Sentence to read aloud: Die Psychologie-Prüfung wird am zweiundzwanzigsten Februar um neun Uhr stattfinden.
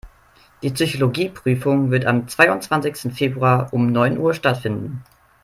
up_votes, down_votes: 3, 0